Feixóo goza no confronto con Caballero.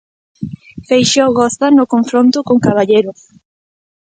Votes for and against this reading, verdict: 2, 0, accepted